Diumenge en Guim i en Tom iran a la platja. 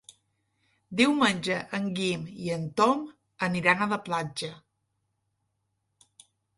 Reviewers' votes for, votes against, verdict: 1, 2, rejected